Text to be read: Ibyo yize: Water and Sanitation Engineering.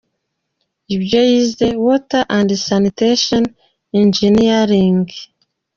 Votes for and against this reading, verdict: 2, 0, accepted